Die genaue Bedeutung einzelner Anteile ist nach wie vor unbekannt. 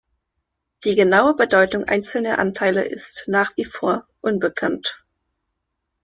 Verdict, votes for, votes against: accepted, 2, 0